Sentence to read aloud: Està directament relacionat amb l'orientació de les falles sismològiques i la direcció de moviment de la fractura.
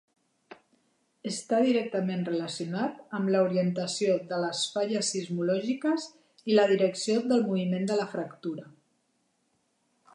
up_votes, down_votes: 1, 2